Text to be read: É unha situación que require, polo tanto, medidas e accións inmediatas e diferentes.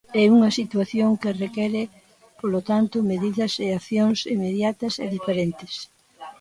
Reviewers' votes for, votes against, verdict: 0, 3, rejected